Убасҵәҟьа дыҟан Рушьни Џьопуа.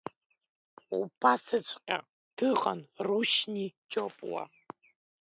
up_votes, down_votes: 2, 1